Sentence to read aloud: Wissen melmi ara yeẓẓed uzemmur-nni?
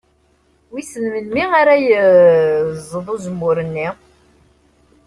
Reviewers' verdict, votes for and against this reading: rejected, 1, 2